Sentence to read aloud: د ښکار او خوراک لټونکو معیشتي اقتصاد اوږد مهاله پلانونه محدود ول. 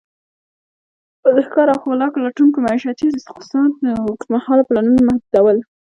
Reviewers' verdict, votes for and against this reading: rejected, 0, 2